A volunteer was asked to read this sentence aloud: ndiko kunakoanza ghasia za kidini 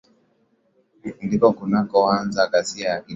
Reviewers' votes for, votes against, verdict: 0, 2, rejected